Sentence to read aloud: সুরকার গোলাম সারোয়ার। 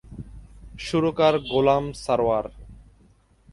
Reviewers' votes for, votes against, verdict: 3, 0, accepted